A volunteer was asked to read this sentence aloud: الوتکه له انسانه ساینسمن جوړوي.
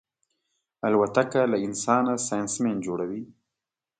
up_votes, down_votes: 2, 0